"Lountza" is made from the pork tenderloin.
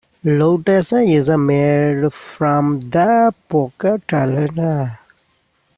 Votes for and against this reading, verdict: 0, 2, rejected